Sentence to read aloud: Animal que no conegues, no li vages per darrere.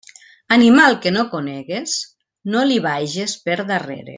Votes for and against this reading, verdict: 3, 0, accepted